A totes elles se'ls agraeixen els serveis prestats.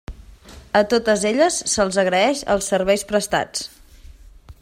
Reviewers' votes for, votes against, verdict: 0, 2, rejected